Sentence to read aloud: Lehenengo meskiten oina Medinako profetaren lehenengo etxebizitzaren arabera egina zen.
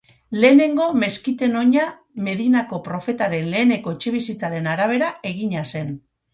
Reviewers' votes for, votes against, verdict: 2, 2, rejected